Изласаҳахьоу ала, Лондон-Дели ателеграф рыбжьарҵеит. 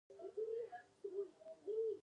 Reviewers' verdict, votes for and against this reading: rejected, 0, 2